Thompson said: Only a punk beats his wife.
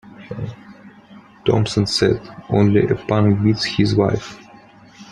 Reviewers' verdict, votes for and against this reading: accepted, 2, 0